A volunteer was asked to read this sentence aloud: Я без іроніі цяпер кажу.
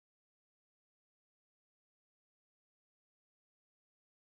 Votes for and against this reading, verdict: 0, 3, rejected